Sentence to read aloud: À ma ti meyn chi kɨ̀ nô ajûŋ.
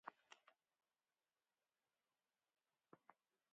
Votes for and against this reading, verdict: 1, 2, rejected